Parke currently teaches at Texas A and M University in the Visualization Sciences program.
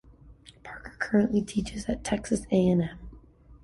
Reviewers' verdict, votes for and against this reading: rejected, 0, 2